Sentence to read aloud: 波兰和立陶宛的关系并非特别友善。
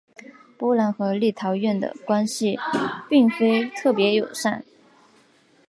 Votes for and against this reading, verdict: 1, 3, rejected